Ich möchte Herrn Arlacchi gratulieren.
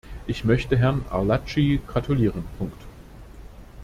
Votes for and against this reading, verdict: 1, 2, rejected